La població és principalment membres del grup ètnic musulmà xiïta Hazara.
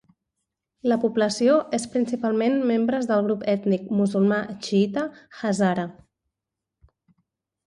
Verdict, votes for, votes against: accepted, 2, 0